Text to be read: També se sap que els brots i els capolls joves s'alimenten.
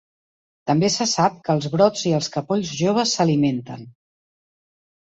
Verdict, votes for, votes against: accepted, 5, 0